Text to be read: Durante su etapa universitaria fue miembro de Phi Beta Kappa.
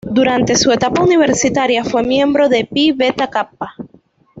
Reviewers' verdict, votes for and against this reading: rejected, 1, 2